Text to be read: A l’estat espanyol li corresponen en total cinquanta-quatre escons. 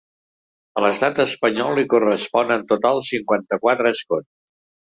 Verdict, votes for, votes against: rejected, 1, 2